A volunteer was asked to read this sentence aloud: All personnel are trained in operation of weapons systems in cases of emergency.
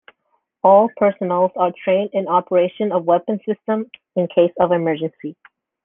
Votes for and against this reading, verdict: 0, 2, rejected